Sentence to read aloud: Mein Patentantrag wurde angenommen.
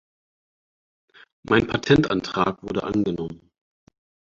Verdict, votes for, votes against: accepted, 4, 0